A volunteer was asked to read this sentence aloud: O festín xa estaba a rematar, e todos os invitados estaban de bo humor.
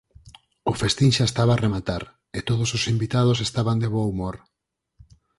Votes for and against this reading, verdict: 4, 0, accepted